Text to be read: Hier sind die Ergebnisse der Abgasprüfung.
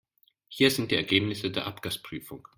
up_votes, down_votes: 2, 0